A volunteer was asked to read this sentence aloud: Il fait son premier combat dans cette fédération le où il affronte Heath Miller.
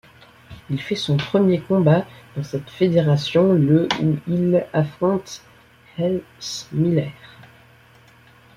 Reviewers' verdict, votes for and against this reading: accepted, 2, 1